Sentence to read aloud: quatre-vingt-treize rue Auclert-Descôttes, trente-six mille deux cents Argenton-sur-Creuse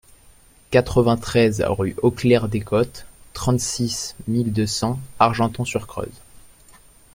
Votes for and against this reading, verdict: 2, 0, accepted